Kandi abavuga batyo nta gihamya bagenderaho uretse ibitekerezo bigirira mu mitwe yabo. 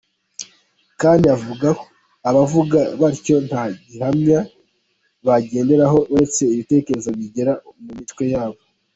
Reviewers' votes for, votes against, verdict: 1, 2, rejected